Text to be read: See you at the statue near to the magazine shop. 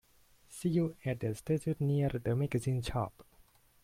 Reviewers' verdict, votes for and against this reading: rejected, 1, 2